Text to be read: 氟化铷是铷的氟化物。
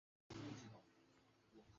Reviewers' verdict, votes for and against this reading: rejected, 0, 2